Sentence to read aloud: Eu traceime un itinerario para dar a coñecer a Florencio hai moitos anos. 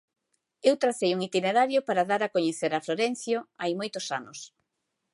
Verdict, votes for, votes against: rejected, 1, 2